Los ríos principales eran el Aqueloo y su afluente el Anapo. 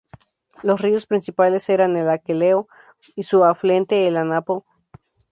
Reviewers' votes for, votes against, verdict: 0, 2, rejected